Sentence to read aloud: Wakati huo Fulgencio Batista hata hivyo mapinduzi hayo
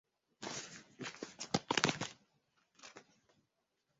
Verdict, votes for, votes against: rejected, 0, 3